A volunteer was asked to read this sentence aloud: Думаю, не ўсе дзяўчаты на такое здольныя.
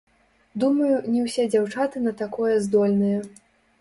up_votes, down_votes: 1, 2